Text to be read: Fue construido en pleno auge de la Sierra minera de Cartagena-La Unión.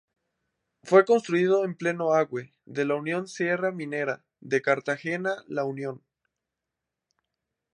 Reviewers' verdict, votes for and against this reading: rejected, 2, 6